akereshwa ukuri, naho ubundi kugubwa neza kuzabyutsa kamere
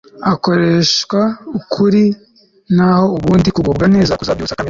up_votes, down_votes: 0, 2